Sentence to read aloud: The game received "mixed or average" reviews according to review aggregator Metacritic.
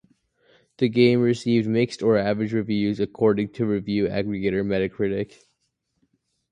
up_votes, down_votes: 2, 0